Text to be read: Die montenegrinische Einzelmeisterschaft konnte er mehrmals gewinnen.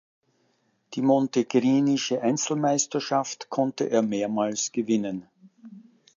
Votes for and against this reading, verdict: 0, 2, rejected